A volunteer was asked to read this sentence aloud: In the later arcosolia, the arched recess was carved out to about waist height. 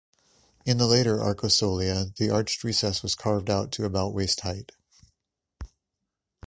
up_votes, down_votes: 2, 0